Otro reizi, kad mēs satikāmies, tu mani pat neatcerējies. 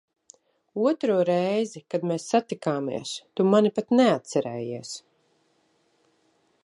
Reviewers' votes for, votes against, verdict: 2, 0, accepted